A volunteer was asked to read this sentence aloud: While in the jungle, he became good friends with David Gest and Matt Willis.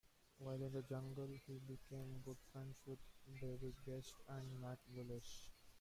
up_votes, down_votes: 0, 2